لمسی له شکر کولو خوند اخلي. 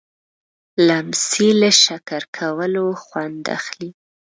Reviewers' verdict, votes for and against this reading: rejected, 0, 2